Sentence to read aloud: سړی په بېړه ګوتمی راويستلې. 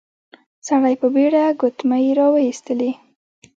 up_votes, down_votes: 1, 2